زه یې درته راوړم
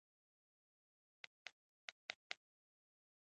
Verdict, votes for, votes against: rejected, 0, 2